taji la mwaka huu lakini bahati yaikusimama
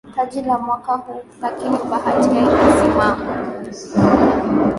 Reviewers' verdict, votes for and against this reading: rejected, 0, 2